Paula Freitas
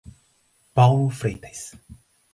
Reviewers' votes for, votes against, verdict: 2, 2, rejected